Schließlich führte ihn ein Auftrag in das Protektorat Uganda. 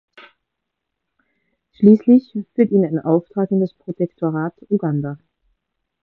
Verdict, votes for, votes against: rejected, 1, 2